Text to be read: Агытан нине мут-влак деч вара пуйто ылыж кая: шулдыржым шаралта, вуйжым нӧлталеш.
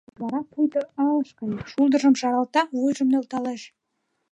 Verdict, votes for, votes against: rejected, 1, 2